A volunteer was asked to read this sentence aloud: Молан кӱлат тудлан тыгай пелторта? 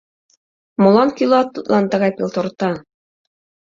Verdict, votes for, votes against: accepted, 2, 0